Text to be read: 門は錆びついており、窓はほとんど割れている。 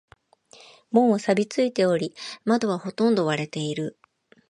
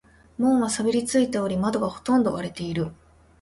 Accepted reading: first